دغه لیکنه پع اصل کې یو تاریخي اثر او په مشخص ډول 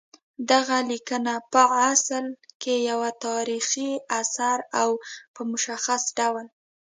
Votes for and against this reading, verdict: 0, 2, rejected